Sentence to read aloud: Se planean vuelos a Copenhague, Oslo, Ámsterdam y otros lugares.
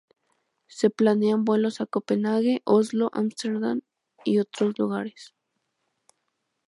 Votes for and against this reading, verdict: 2, 0, accepted